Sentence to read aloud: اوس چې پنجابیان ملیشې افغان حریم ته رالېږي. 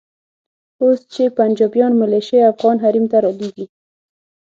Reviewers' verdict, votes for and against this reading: accepted, 6, 0